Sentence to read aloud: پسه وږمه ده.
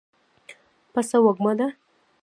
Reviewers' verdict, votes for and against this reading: rejected, 0, 2